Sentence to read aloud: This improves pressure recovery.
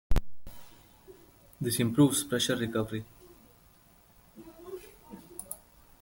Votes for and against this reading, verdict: 2, 0, accepted